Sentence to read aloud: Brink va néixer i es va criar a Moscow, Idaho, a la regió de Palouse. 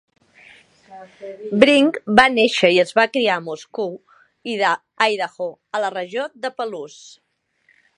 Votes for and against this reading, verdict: 1, 2, rejected